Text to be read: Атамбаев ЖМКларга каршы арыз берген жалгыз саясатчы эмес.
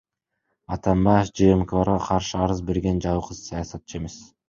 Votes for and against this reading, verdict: 2, 1, accepted